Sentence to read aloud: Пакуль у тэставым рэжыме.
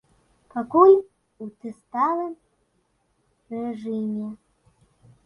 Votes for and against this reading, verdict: 1, 2, rejected